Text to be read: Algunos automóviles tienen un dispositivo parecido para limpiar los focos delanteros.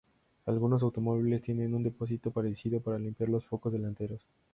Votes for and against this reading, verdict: 0, 2, rejected